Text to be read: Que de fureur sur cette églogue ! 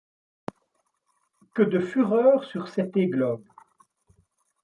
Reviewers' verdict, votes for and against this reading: accepted, 2, 1